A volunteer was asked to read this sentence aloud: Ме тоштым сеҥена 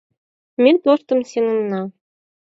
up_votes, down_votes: 4, 0